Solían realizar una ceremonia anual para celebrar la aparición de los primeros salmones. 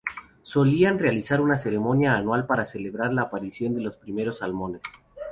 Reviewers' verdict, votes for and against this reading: rejected, 0, 2